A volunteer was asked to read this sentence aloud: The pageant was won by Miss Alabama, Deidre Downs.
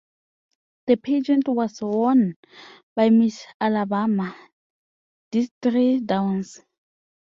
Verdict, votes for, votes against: rejected, 0, 2